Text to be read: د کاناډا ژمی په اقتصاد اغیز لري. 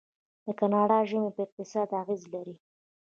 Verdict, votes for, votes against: rejected, 1, 2